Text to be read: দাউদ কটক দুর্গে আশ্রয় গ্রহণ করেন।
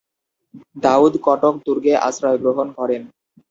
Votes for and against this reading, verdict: 0, 2, rejected